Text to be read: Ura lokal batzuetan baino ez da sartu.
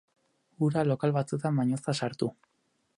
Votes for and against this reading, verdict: 2, 4, rejected